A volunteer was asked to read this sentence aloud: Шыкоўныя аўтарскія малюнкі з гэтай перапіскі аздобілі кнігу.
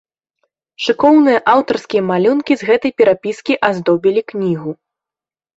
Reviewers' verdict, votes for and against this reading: accepted, 2, 0